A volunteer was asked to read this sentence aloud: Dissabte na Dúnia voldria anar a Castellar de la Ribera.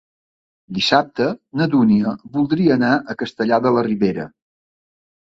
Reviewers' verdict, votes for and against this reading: accepted, 3, 0